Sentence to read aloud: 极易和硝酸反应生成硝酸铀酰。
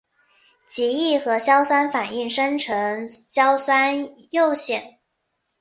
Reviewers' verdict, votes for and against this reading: accepted, 3, 1